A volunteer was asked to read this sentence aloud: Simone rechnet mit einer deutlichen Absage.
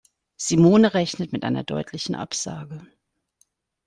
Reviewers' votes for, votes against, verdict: 2, 0, accepted